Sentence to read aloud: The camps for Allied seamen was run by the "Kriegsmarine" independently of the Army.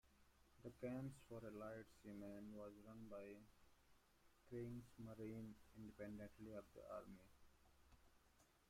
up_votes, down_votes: 1, 2